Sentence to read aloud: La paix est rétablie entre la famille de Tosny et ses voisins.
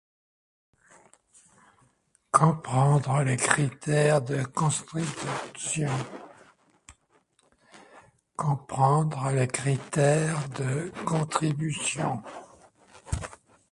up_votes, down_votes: 0, 2